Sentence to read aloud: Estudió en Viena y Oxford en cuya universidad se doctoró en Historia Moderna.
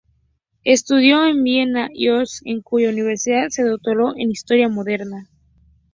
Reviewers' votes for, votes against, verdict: 2, 2, rejected